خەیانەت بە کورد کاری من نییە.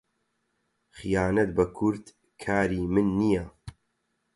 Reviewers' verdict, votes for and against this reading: rejected, 0, 4